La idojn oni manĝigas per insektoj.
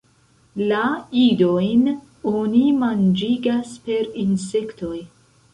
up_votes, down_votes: 1, 2